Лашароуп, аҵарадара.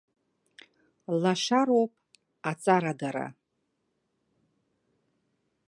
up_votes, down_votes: 0, 2